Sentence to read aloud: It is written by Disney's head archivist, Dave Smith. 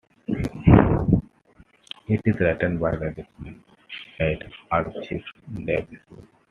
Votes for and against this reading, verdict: 2, 0, accepted